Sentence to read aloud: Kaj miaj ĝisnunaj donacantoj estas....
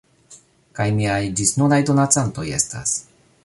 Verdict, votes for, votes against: accepted, 2, 1